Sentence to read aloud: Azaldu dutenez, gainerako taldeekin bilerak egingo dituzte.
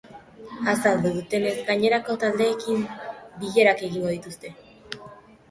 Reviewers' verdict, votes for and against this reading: accepted, 3, 0